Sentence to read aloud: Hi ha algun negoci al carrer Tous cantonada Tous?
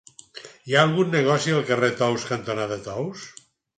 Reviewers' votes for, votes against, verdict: 4, 0, accepted